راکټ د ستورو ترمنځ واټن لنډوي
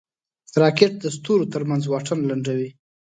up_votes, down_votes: 2, 0